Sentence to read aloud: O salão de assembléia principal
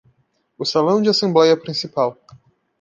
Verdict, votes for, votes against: accepted, 2, 0